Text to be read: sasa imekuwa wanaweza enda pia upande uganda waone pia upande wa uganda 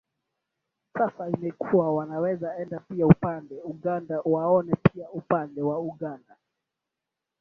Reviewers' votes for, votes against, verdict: 0, 2, rejected